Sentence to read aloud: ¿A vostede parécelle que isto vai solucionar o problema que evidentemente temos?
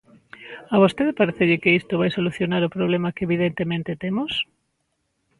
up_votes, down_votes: 2, 0